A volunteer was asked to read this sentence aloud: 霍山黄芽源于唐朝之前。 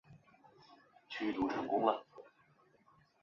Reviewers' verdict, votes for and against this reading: rejected, 0, 3